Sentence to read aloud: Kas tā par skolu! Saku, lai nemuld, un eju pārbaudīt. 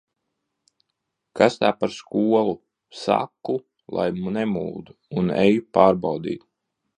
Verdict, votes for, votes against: rejected, 0, 2